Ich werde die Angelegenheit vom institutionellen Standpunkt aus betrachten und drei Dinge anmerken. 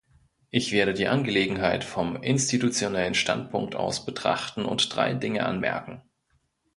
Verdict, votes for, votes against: accepted, 2, 0